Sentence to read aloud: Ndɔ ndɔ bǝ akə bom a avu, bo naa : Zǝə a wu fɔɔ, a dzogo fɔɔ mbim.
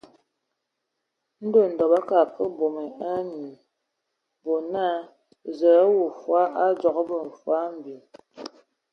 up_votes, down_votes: 0, 2